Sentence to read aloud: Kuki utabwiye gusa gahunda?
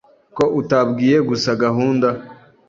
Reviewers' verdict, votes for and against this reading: rejected, 0, 2